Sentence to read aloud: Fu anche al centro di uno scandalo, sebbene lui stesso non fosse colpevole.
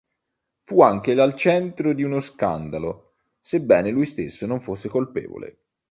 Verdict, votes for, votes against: accepted, 3, 1